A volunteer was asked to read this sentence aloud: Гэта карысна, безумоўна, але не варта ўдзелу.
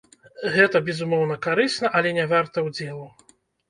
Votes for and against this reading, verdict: 0, 2, rejected